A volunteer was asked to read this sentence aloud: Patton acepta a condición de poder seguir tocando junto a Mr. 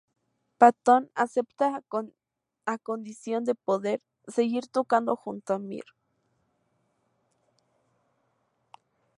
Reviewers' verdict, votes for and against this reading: rejected, 2, 2